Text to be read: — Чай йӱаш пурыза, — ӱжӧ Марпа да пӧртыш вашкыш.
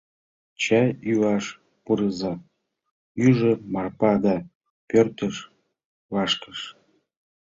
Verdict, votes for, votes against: accepted, 2, 0